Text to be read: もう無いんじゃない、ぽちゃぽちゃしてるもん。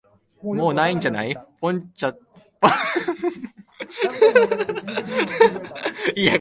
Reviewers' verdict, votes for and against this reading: rejected, 0, 2